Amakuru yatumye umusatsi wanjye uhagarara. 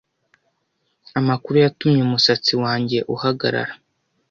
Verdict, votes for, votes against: accepted, 2, 0